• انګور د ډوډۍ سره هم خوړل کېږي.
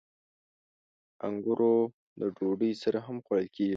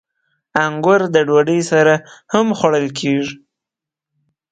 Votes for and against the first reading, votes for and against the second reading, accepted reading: 1, 2, 10, 0, second